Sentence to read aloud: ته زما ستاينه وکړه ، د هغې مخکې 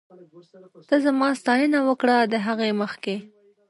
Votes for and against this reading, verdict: 2, 0, accepted